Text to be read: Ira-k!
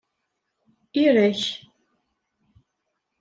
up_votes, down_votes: 1, 2